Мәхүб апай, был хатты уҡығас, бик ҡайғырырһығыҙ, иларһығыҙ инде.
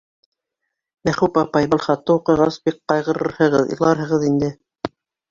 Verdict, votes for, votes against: accepted, 2, 0